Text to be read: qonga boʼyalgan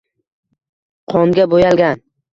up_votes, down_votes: 2, 1